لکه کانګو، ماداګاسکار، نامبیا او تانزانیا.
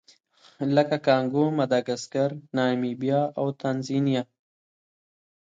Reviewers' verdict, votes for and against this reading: rejected, 1, 2